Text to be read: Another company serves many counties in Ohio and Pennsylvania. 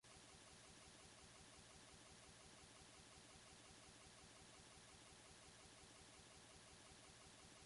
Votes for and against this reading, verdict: 0, 2, rejected